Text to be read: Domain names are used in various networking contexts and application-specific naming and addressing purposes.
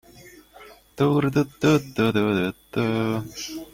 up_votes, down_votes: 0, 2